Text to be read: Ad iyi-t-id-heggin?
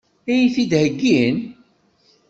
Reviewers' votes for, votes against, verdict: 3, 0, accepted